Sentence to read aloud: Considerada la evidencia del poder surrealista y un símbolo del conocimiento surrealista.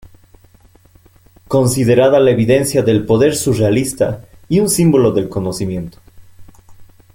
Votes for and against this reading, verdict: 0, 2, rejected